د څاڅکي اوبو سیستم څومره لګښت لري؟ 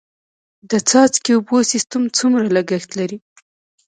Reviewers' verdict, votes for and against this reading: accepted, 2, 0